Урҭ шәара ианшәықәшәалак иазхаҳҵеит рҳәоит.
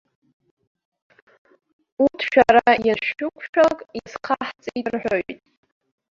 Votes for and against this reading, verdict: 0, 2, rejected